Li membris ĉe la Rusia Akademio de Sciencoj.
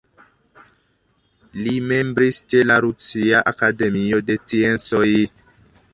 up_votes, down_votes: 2, 1